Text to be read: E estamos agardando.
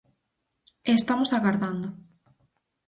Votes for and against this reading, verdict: 4, 0, accepted